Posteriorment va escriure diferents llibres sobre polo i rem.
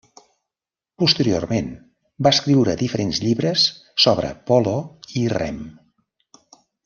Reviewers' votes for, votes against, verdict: 3, 0, accepted